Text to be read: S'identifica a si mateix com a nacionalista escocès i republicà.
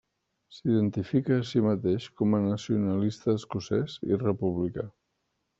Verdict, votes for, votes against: rejected, 0, 2